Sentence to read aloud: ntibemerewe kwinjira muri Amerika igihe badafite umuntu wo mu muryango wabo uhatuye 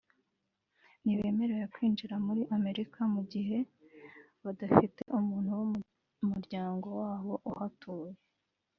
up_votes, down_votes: 1, 2